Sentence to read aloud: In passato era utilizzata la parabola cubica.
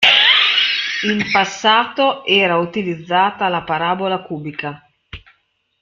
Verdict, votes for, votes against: rejected, 0, 2